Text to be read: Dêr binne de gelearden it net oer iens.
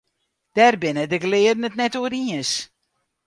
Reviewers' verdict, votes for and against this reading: accepted, 2, 0